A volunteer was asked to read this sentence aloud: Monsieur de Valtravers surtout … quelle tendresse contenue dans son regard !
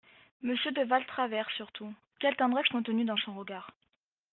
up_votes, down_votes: 2, 0